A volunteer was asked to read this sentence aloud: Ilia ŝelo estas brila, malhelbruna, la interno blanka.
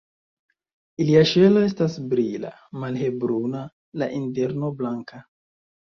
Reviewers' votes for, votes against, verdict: 1, 2, rejected